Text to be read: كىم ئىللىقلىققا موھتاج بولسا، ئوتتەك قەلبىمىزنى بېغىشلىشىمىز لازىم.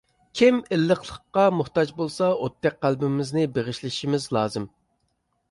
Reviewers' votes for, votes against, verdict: 2, 0, accepted